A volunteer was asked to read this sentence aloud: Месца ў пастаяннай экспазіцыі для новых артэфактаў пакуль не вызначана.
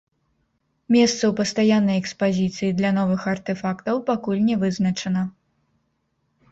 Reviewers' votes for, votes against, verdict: 1, 2, rejected